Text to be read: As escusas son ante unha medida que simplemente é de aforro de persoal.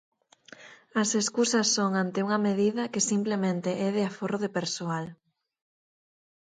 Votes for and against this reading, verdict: 4, 0, accepted